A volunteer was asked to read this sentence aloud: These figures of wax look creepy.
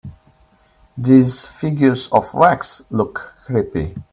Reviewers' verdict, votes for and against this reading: accepted, 2, 0